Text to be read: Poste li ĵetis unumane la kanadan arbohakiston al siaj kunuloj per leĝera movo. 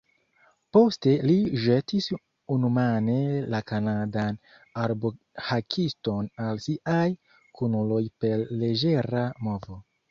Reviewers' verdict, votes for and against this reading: rejected, 0, 2